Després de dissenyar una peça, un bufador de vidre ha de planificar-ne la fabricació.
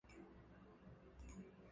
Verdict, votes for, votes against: rejected, 0, 2